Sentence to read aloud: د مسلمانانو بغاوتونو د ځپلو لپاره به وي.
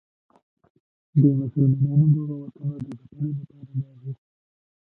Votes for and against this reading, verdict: 1, 3, rejected